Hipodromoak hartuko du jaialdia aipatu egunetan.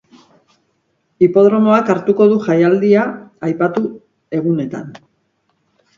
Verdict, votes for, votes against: rejected, 2, 2